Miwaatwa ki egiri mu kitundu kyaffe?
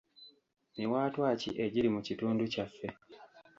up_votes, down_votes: 2, 0